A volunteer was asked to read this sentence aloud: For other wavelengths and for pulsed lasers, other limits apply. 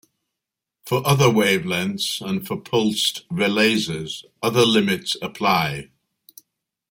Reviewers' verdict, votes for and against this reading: rejected, 0, 2